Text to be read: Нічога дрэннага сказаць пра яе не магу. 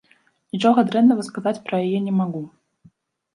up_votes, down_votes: 0, 2